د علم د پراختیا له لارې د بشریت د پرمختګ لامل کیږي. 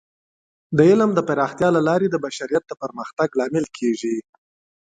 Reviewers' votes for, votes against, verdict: 3, 2, accepted